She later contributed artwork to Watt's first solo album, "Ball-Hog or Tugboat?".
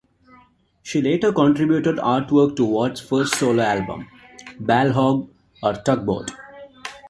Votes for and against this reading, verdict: 1, 2, rejected